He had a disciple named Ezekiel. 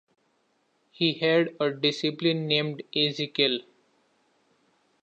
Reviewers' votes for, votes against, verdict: 2, 1, accepted